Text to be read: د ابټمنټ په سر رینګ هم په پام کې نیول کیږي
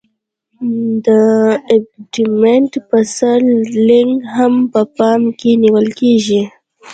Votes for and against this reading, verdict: 1, 2, rejected